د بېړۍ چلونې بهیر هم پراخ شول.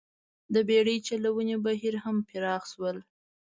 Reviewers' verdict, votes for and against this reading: accepted, 2, 0